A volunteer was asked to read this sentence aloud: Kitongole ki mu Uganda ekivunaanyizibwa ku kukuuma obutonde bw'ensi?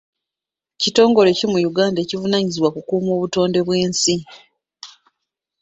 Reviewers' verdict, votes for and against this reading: accepted, 2, 0